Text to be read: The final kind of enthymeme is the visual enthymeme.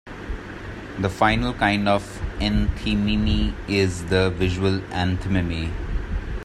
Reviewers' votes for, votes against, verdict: 0, 2, rejected